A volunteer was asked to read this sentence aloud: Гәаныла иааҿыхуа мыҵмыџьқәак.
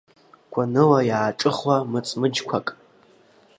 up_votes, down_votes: 2, 0